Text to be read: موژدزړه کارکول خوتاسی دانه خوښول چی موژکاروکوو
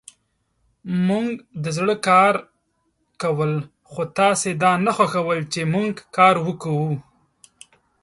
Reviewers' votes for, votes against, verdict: 1, 2, rejected